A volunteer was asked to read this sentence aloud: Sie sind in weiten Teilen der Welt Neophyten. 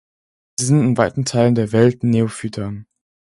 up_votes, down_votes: 2, 4